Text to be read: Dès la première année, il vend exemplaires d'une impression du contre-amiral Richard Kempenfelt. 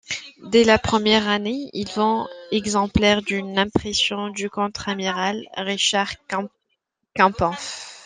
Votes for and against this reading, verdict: 0, 2, rejected